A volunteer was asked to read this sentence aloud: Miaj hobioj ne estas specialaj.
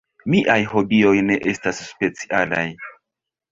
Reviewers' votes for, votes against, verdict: 2, 1, accepted